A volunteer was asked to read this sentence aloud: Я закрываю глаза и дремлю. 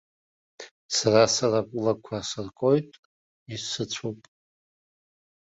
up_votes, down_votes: 0, 2